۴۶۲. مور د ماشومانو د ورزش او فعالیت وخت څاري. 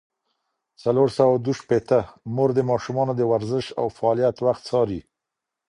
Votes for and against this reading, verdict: 0, 2, rejected